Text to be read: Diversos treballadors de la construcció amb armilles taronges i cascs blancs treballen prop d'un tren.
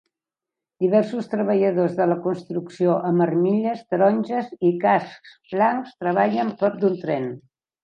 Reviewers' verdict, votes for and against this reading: accepted, 2, 0